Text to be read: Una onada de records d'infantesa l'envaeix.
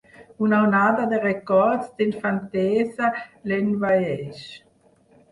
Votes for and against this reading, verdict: 0, 4, rejected